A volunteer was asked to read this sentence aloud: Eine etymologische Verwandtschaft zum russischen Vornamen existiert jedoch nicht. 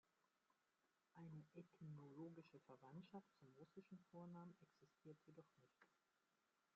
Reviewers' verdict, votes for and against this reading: rejected, 0, 2